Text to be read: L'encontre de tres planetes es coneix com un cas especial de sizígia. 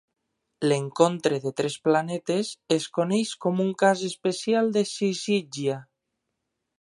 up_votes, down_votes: 3, 0